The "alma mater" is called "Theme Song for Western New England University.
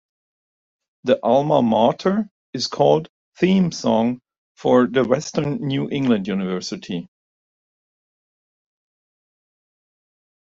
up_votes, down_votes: 2, 0